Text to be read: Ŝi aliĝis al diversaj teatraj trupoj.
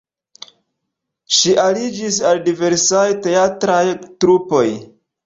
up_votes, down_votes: 2, 0